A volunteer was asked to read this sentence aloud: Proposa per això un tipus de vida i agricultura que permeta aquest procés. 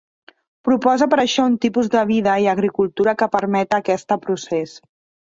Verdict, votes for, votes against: rejected, 0, 2